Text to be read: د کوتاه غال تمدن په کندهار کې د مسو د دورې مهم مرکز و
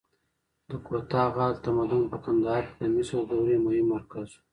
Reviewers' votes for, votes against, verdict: 0, 2, rejected